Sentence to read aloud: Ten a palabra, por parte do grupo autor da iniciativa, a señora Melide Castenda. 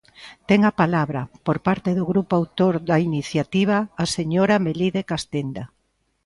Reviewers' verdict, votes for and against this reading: accepted, 2, 0